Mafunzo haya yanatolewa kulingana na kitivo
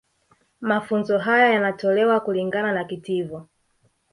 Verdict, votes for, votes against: rejected, 1, 2